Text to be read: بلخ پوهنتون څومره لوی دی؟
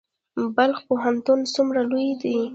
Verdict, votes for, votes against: rejected, 1, 2